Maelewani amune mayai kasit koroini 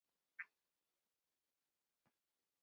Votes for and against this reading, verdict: 0, 2, rejected